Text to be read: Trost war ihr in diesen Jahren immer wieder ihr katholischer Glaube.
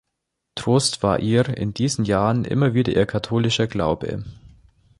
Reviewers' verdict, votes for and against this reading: accepted, 3, 0